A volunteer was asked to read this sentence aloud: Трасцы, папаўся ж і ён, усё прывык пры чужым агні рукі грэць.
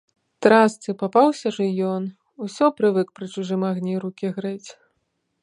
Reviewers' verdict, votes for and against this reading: accepted, 2, 0